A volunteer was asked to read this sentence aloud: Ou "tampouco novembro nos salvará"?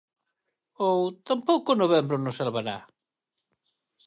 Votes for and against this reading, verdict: 4, 0, accepted